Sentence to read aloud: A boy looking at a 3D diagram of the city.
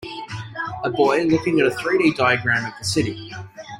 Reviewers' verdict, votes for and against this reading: rejected, 0, 2